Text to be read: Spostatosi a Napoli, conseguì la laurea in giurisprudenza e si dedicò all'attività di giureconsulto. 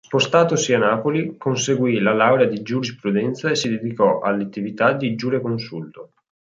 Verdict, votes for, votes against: rejected, 1, 2